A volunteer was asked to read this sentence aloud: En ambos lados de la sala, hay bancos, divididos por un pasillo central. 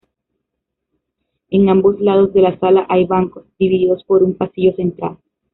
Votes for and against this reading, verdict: 0, 2, rejected